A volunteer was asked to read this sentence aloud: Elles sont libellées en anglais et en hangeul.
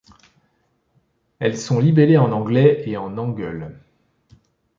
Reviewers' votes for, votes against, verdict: 2, 0, accepted